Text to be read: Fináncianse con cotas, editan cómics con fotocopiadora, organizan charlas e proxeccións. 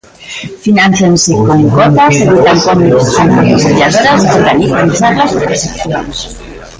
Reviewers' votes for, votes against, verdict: 0, 2, rejected